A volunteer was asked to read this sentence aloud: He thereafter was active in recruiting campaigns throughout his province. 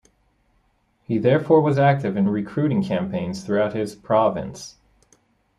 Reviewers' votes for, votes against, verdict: 1, 2, rejected